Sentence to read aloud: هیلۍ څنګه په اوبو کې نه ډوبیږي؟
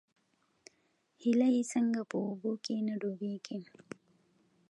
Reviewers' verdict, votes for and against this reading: accepted, 2, 0